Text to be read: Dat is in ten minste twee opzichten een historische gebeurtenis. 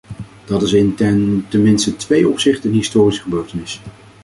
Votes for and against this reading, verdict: 0, 2, rejected